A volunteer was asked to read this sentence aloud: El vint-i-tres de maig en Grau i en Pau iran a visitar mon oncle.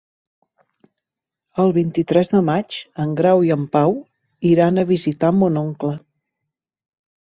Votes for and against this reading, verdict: 3, 0, accepted